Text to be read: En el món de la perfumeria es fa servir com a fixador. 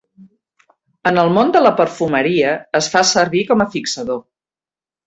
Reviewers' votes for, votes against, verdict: 3, 0, accepted